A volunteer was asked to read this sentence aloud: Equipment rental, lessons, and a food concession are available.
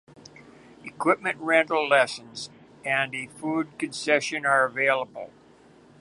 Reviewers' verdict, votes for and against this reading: rejected, 1, 2